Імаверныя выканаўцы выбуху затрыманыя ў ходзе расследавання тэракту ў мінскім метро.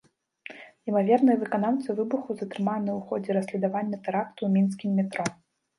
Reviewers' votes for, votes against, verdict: 1, 2, rejected